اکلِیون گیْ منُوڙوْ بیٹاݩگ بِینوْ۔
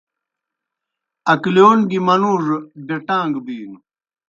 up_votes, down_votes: 2, 0